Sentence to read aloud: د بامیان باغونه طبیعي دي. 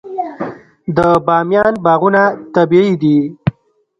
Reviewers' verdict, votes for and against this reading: rejected, 1, 2